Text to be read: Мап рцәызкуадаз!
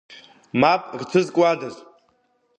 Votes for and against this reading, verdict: 2, 0, accepted